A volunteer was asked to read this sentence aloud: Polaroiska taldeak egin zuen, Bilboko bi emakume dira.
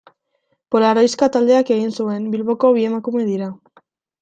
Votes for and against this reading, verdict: 2, 0, accepted